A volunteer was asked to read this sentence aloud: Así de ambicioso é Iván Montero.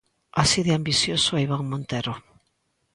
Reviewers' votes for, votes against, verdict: 2, 0, accepted